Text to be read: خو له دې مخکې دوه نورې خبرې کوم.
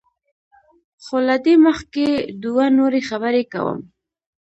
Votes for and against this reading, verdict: 2, 0, accepted